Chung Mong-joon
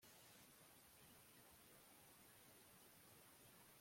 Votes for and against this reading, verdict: 0, 2, rejected